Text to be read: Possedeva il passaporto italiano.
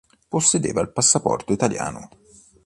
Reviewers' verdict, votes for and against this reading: accepted, 2, 0